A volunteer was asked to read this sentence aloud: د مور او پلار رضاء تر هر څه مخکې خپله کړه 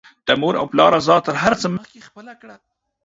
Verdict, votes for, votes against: rejected, 0, 2